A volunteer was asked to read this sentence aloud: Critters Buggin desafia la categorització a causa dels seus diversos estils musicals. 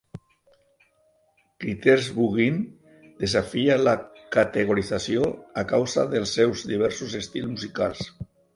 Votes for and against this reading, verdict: 0, 2, rejected